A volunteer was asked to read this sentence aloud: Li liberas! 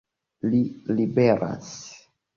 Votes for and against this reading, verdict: 2, 1, accepted